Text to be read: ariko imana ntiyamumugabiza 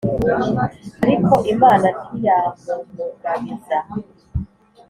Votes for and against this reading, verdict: 2, 0, accepted